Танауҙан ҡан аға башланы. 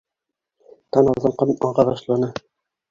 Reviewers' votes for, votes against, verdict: 1, 2, rejected